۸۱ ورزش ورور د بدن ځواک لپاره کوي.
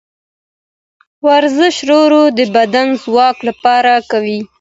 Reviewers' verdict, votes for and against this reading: rejected, 0, 2